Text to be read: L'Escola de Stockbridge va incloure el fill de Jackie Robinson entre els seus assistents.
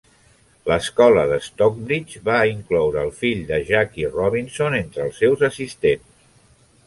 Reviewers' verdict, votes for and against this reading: accepted, 3, 0